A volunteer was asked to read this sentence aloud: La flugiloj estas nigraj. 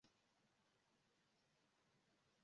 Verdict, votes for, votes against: rejected, 1, 3